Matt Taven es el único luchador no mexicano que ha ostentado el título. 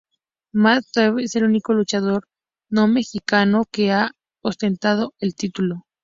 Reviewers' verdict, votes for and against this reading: accepted, 4, 0